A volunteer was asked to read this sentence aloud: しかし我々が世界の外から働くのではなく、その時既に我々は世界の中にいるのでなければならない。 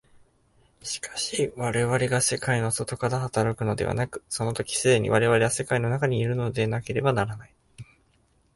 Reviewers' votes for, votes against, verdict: 2, 2, rejected